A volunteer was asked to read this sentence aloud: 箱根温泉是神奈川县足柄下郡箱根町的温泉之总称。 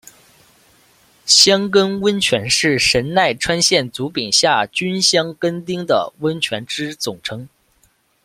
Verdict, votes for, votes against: rejected, 1, 2